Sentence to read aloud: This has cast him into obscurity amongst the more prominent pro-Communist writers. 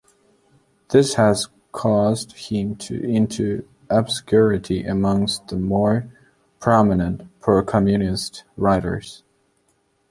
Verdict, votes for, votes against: rejected, 0, 2